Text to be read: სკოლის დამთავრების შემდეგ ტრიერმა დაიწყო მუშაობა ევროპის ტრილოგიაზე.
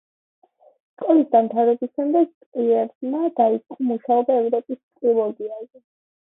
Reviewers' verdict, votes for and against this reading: accepted, 2, 1